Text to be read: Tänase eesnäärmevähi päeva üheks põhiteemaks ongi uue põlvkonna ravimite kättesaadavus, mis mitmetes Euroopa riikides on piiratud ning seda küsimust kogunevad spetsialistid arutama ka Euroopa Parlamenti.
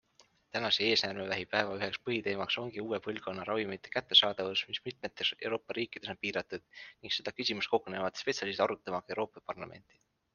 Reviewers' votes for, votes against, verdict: 2, 0, accepted